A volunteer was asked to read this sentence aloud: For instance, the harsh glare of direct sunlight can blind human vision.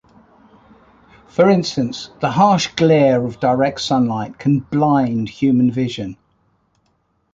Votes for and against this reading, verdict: 2, 0, accepted